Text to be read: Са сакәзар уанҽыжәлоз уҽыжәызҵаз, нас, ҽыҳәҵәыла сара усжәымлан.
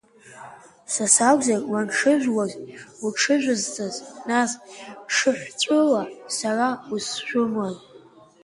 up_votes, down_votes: 1, 2